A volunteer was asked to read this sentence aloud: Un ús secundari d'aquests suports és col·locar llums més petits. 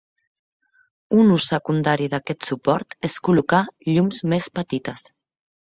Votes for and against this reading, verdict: 0, 2, rejected